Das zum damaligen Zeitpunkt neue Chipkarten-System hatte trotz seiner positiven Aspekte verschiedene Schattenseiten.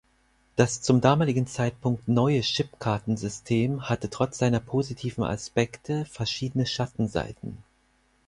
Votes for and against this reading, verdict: 4, 0, accepted